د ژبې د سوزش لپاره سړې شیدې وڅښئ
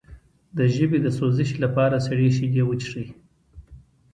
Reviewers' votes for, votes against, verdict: 1, 2, rejected